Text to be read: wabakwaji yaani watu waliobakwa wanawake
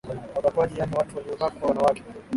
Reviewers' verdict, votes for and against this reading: rejected, 0, 2